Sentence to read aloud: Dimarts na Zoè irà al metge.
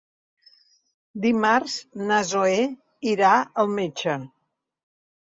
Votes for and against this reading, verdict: 3, 0, accepted